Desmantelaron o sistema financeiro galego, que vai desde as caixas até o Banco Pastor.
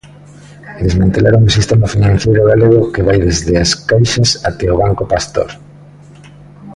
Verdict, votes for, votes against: accepted, 2, 0